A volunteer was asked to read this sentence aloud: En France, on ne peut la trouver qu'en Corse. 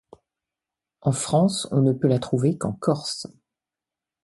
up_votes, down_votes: 2, 0